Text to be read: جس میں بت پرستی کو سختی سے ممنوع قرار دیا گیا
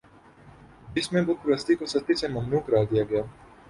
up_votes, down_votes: 13, 2